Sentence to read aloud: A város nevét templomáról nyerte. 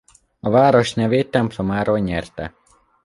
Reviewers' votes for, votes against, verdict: 2, 0, accepted